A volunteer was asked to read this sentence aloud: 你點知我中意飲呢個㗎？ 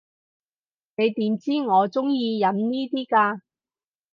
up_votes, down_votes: 0, 4